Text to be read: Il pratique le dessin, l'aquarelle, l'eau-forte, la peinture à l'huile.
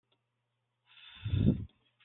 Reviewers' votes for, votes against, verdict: 0, 2, rejected